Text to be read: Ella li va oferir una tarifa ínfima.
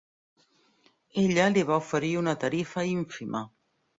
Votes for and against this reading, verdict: 3, 0, accepted